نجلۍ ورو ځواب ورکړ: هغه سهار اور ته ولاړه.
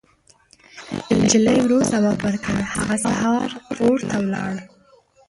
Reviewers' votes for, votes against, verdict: 1, 2, rejected